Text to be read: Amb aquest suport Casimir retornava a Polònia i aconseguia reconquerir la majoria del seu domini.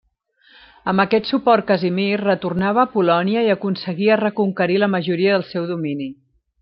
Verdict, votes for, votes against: accepted, 2, 0